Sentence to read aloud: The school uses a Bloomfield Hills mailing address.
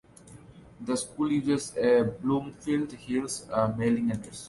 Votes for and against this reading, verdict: 1, 2, rejected